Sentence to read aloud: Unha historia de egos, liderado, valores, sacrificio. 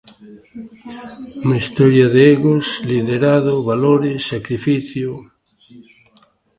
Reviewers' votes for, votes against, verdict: 2, 0, accepted